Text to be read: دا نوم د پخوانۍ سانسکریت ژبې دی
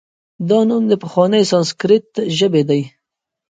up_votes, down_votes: 2, 1